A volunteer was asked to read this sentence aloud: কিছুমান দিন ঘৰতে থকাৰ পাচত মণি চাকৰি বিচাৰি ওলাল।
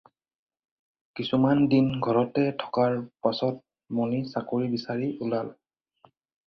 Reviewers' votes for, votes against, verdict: 4, 0, accepted